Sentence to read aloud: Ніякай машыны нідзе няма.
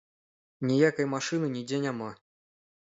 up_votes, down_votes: 4, 0